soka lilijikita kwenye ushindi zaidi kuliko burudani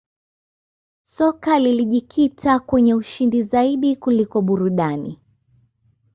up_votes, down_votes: 2, 0